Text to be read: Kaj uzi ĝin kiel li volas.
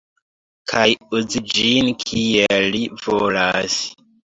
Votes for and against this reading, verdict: 2, 0, accepted